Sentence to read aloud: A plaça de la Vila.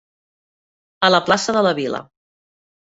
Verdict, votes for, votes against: accepted, 2, 0